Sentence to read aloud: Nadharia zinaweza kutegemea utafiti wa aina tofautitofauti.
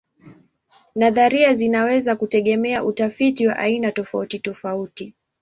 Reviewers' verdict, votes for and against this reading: accepted, 2, 0